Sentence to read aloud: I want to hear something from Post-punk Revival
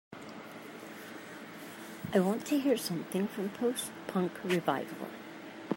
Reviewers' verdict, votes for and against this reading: accepted, 2, 0